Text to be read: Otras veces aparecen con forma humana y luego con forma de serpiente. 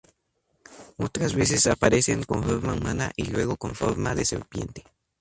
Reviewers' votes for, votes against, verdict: 0, 4, rejected